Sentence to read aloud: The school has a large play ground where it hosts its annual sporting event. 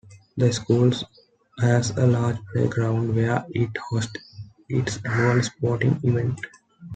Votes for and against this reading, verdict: 1, 2, rejected